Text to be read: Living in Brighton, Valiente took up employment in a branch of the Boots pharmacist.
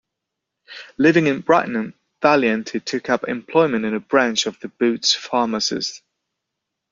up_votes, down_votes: 0, 2